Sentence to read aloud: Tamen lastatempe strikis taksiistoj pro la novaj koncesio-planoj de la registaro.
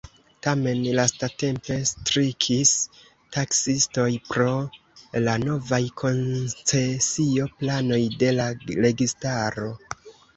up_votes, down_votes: 2, 0